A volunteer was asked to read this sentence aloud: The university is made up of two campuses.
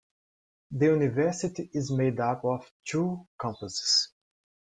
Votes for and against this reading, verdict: 2, 0, accepted